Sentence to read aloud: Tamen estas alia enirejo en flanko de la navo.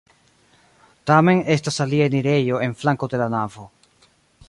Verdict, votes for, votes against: accepted, 2, 0